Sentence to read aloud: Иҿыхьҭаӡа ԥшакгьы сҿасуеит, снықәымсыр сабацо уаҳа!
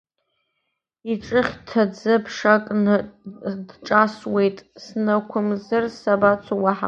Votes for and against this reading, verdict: 0, 2, rejected